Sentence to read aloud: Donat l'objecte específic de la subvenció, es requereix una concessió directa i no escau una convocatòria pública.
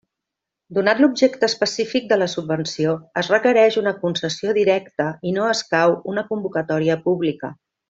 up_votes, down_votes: 2, 1